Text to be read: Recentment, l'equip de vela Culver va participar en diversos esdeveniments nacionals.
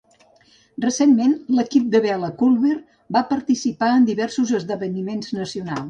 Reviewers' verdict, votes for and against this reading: rejected, 1, 2